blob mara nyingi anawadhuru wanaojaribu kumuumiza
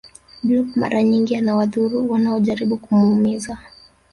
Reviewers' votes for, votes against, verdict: 0, 2, rejected